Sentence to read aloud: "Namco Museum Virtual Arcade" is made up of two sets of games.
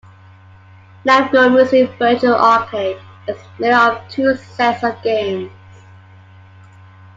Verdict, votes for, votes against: accepted, 2, 0